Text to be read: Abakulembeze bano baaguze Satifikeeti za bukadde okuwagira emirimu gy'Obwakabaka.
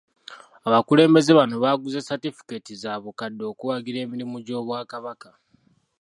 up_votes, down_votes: 2, 1